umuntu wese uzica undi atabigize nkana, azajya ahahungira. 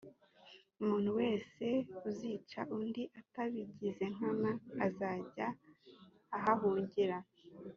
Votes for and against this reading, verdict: 2, 1, accepted